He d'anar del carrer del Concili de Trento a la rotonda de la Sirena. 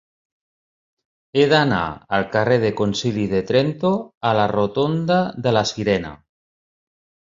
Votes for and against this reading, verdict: 1, 4, rejected